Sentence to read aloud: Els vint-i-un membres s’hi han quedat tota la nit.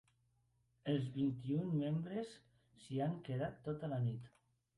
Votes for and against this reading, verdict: 2, 0, accepted